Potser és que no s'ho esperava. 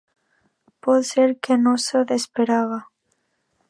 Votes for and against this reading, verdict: 1, 2, rejected